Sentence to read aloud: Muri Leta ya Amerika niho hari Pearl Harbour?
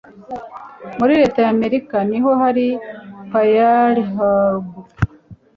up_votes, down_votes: 1, 2